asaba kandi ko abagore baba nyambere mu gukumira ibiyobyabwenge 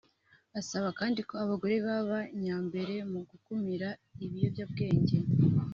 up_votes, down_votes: 2, 0